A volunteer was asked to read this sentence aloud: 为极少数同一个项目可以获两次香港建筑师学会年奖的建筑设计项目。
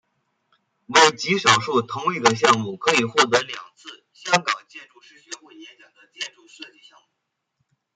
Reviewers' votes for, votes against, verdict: 1, 2, rejected